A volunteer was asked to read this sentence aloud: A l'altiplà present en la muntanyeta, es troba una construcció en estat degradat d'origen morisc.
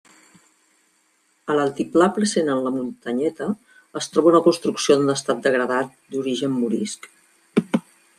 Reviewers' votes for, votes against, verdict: 2, 0, accepted